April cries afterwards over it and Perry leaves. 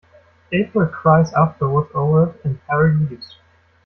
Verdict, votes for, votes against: rejected, 0, 2